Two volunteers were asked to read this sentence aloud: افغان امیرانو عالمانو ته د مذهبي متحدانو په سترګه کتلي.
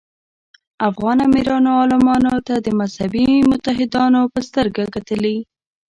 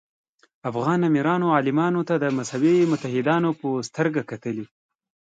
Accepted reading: second